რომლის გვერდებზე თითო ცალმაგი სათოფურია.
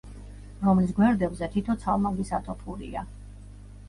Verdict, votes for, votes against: accepted, 2, 0